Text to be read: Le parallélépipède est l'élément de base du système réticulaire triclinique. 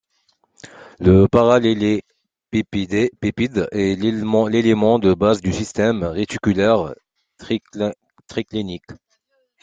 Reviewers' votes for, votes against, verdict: 0, 2, rejected